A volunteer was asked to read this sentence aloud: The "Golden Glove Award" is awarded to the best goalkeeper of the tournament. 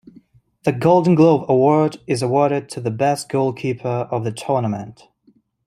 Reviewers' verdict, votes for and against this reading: rejected, 1, 2